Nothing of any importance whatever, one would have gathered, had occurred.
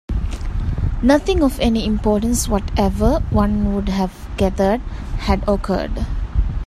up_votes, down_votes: 0, 2